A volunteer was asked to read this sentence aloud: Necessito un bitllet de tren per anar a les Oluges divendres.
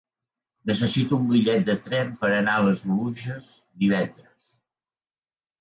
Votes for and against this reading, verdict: 4, 0, accepted